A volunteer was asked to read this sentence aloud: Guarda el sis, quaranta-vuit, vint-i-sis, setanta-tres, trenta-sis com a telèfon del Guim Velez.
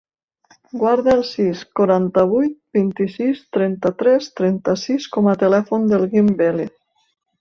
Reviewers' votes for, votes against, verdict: 0, 2, rejected